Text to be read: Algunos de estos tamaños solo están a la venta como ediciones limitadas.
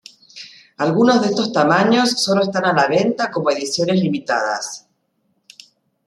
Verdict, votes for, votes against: accepted, 2, 0